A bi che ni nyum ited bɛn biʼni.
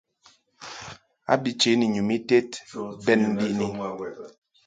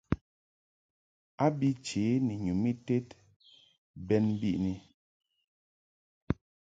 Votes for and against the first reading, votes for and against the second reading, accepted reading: 1, 2, 2, 0, second